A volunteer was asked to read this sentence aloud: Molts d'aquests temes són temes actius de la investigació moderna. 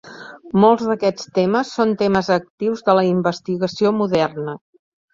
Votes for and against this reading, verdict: 3, 0, accepted